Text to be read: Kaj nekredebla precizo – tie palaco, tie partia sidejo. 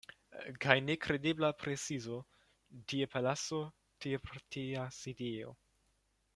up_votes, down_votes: 1, 2